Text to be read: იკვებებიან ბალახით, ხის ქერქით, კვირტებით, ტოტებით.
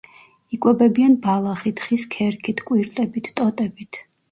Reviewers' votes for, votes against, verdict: 2, 0, accepted